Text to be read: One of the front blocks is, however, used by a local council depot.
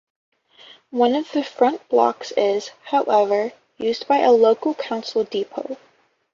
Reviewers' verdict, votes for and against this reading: accepted, 2, 0